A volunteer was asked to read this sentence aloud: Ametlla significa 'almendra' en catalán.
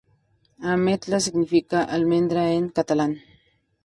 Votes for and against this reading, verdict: 2, 0, accepted